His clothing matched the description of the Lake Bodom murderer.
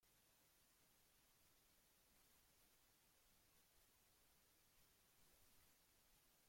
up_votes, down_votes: 0, 2